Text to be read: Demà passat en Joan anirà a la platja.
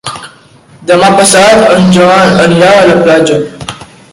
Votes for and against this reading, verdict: 1, 2, rejected